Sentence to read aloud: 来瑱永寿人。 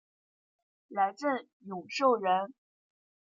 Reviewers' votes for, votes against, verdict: 1, 2, rejected